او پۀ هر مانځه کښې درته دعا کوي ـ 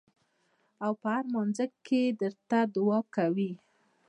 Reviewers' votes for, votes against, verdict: 2, 0, accepted